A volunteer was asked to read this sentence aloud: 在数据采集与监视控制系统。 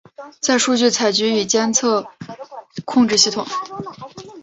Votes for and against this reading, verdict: 4, 1, accepted